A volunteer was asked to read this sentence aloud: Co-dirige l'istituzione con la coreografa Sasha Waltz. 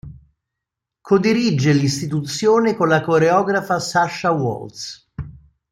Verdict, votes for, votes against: accepted, 2, 0